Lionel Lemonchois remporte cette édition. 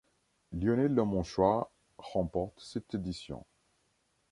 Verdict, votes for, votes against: accepted, 2, 0